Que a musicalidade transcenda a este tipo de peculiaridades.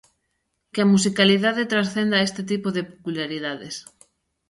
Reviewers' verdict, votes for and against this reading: rejected, 0, 2